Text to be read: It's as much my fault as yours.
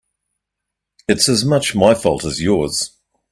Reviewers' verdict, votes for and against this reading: accepted, 2, 0